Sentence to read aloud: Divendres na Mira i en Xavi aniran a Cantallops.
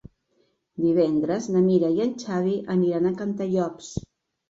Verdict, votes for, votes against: accepted, 3, 0